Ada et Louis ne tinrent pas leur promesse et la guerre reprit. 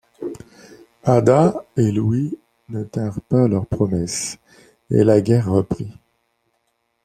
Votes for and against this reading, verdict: 2, 0, accepted